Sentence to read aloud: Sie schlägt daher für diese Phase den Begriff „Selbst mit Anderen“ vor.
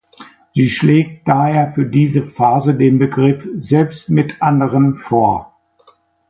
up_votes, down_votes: 2, 0